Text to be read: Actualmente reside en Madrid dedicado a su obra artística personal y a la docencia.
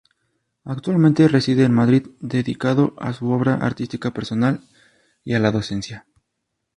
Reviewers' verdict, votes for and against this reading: accepted, 6, 0